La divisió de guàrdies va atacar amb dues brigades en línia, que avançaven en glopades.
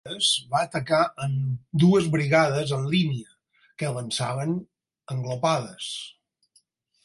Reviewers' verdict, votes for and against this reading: rejected, 0, 4